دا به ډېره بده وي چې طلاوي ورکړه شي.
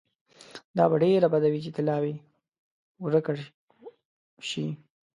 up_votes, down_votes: 2, 1